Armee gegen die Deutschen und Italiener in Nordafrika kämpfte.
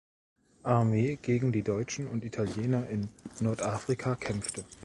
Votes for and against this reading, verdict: 2, 1, accepted